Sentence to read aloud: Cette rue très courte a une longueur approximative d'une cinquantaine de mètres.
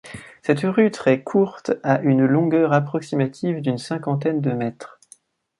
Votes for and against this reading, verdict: 2, 0, accepted